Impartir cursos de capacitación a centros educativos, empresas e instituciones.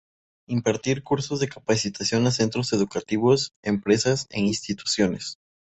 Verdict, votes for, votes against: accepted, 2, 0